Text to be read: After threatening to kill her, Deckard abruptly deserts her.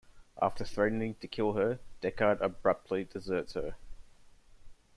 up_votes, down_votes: 2, 0